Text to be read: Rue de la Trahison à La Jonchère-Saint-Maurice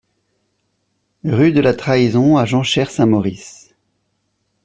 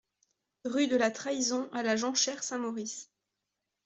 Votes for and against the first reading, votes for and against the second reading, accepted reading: 1, 2, 2, 0, second